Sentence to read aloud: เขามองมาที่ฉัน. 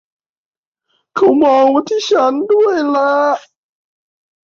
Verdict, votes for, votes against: rejected, 0, 2